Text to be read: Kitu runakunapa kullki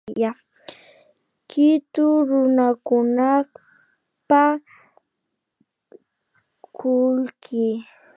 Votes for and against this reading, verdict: 0, 2, rejected